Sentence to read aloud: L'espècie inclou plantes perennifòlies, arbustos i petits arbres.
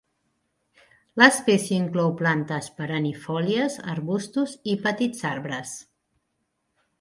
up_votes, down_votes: 4, 0